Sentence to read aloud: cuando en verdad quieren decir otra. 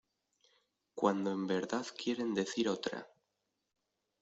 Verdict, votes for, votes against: accepted, 2, 1